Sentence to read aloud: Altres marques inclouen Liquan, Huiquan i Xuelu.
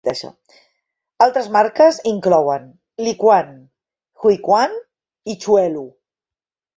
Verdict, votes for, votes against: rejected, 0, 4